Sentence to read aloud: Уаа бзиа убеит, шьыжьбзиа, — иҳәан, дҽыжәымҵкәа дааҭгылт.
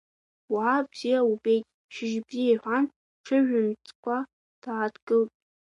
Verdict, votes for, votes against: rejected, 0, 2